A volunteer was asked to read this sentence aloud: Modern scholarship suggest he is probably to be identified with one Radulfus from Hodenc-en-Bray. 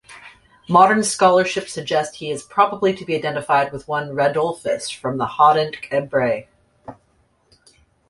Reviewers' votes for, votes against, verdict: 2, 0, accepted